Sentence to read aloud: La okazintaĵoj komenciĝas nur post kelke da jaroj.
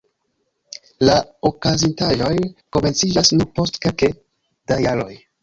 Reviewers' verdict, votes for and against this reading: rejected, 1, 2